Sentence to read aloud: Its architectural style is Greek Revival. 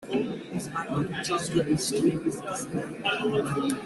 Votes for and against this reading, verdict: 0, 3, rejected